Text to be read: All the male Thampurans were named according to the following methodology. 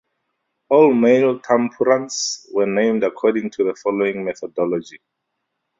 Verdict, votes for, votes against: rejected, 0, 2